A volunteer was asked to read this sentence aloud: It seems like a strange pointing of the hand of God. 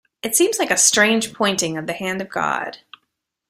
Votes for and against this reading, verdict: 2, 0, accepted